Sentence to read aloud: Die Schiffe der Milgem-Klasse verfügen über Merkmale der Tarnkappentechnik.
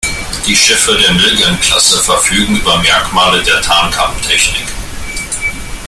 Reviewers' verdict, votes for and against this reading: accepted, 2, 1